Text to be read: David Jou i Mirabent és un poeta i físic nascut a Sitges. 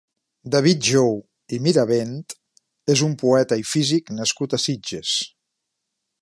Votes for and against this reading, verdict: 3, 0, accepted